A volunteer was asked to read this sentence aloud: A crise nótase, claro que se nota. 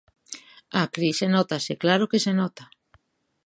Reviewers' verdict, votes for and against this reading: accepted, 2, 0